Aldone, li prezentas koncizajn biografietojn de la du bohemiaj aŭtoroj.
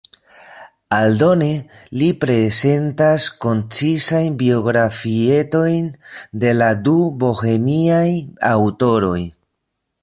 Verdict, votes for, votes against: rejected, 1, 2